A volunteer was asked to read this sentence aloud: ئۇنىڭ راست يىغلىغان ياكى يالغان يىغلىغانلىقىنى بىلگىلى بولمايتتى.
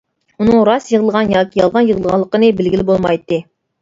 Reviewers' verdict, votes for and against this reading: accepted, 2, 0